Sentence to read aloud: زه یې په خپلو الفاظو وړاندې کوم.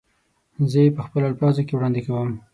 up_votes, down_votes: 0, 6